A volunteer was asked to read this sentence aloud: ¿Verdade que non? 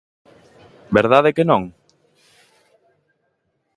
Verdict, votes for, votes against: accepted, 2, 0